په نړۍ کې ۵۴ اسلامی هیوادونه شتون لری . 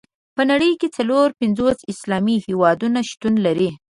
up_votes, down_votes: 0, 2